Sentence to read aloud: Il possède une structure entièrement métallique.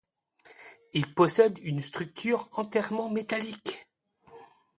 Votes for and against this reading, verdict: 1, 2, rejected